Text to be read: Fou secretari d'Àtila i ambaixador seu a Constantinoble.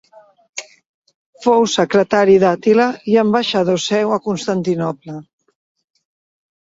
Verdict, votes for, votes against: accepted, 2, 0